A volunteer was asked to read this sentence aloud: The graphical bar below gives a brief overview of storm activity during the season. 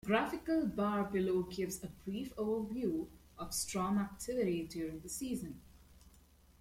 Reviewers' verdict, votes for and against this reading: accepted, 2, 0